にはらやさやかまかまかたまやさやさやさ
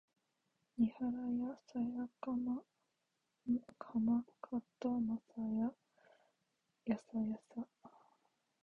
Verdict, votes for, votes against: accepted, 2, 0